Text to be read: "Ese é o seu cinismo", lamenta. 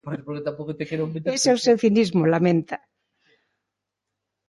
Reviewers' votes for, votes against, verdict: 0, 2, rejected